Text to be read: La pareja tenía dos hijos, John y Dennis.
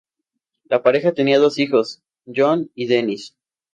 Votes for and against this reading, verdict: 2, 0, accepted